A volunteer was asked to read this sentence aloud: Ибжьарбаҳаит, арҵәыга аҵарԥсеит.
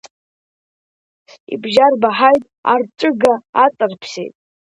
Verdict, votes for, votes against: rejected, 1, 2